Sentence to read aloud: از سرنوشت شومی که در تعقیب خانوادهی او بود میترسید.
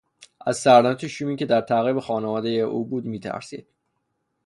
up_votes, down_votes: 6, 0